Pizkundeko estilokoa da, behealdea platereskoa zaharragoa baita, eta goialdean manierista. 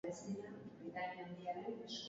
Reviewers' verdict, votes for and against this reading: rejected, 0, 2